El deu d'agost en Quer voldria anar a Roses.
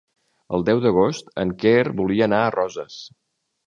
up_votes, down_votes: 0, 2